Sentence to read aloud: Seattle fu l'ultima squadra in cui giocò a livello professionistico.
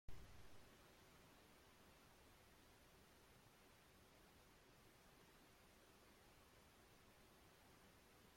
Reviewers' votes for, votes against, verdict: 0, 2, rejected